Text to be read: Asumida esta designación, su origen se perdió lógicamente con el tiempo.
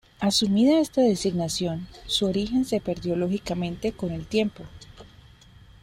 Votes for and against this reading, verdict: 2, 0, accepted